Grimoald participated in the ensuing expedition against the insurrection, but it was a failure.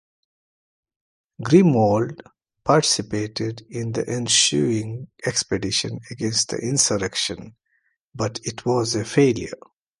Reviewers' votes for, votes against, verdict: 2, 0, accepted